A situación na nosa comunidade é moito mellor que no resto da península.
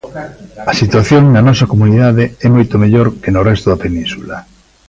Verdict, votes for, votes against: rejected, 1, 2